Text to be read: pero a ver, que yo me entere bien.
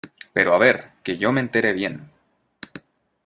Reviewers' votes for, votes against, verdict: 2, 1, accepted